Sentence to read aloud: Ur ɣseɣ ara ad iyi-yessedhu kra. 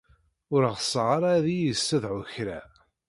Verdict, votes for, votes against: rejected, 1, 2